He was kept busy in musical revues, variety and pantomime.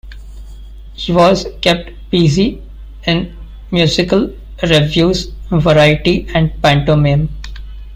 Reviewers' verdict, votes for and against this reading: rejected, 1, 2